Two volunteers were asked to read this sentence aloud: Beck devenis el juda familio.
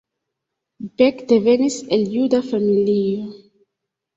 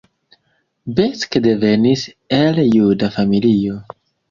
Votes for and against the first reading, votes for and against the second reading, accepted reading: 1, 2, 2, 1, second